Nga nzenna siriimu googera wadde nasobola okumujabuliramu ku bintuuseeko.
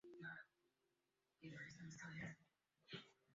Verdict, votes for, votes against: rejected, 0, 2